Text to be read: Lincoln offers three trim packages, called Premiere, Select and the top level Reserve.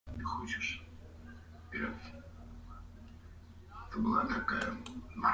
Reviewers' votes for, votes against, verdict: 0, 2, rejected